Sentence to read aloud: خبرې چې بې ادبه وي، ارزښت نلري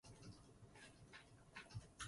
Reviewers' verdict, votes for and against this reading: rejected, 1, 2